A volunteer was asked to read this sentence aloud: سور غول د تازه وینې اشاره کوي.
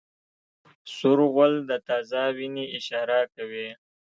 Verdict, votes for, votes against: rejected, 1, 2